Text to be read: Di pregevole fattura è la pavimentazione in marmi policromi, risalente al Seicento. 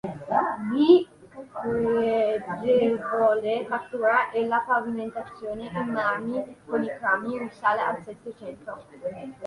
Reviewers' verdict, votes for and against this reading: rejected, 0, 2